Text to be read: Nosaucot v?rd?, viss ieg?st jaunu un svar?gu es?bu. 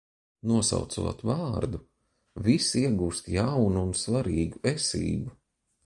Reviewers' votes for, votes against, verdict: 0, 2, rejected